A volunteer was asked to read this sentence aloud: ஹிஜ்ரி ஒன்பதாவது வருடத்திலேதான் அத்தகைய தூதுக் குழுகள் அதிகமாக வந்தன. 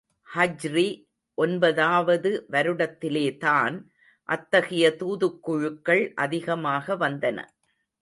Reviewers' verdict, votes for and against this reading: rejected, 1, 2